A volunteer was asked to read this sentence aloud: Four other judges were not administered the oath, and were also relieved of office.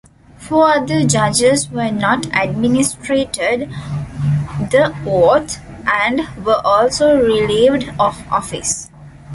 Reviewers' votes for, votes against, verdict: 0, 2, rejected